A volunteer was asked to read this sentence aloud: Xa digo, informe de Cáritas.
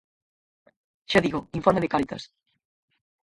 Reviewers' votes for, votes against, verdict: 2, 4, rejected